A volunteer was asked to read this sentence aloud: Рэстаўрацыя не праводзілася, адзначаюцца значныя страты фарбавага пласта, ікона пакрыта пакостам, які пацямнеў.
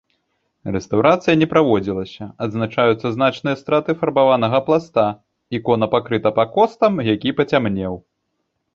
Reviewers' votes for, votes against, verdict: 0, 2, rejected